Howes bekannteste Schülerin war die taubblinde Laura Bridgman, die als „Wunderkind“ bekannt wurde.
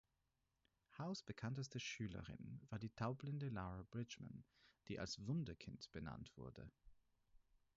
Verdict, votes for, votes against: rejected, 2, 4